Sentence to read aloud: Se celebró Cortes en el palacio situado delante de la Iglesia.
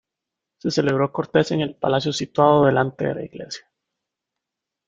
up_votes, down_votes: 2, 0